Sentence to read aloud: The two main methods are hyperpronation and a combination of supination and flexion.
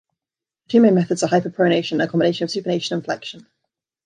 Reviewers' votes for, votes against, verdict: 1, 2, rejected